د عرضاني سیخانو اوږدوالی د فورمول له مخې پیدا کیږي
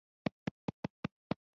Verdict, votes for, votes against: rejected, 0, 2